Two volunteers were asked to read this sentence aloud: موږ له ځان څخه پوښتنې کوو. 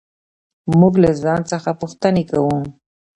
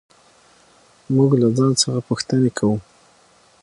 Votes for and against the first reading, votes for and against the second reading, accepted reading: 0, 2, 6, 0, second